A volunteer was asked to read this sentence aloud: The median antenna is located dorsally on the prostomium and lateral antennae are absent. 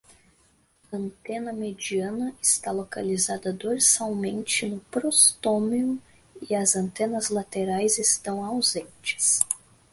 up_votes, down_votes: 0, 2